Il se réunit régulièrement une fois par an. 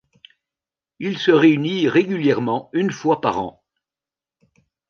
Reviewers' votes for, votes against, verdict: 2, 0, accepted